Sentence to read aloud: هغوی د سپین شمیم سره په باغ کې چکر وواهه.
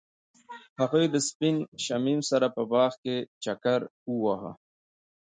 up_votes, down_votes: 2, 1